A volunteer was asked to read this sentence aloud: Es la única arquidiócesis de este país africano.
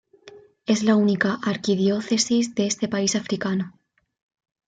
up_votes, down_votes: 2, 0